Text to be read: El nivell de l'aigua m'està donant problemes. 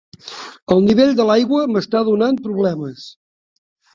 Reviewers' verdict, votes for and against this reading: accepted, 3, 1